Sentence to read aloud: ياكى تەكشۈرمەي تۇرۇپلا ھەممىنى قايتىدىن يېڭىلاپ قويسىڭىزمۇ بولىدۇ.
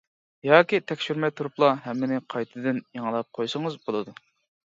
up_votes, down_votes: 0, 2